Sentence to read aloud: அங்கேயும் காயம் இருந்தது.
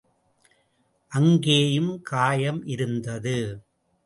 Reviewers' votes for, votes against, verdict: 2, 0, accepted